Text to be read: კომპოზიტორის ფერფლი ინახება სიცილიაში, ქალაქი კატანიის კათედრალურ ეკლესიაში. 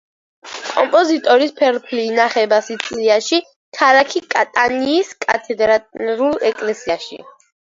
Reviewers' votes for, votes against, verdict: 2, 1, accepted